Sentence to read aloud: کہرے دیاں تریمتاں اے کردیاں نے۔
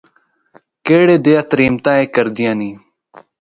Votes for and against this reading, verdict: 0, 2, rejected